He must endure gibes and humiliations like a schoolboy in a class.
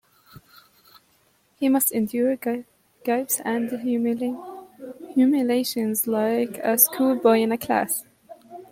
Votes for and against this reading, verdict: 1, 2, rejected